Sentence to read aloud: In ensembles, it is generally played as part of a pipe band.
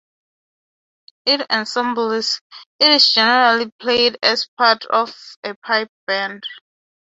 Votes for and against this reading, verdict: 3, 3, rejected